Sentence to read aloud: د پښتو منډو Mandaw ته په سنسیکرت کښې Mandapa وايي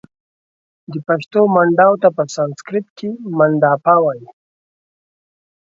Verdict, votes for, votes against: accepted, 2, 1